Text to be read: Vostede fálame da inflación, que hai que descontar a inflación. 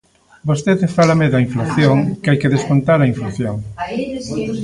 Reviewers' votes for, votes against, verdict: 1, 2, rejected